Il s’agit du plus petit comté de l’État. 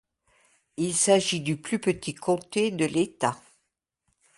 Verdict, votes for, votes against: accepted, 2, 0